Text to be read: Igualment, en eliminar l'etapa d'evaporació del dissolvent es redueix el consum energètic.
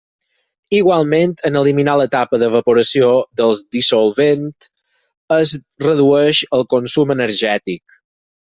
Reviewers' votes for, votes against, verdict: 4, 0, accepted